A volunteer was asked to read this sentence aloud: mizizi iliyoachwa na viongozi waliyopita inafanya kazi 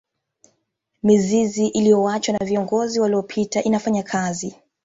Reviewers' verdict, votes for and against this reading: accepted, 2, 0